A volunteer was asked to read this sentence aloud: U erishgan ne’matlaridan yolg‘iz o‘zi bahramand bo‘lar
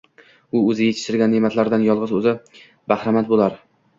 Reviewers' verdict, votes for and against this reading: rejected, 0, 2